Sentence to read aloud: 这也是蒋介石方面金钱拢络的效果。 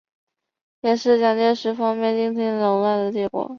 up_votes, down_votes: 1, 2